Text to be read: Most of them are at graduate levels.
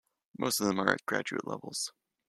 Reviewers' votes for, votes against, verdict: 2, 0, accepted